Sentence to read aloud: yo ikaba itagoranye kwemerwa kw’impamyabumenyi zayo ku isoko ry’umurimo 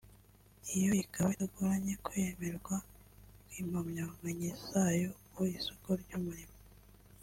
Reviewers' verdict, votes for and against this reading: rejected, 1, 2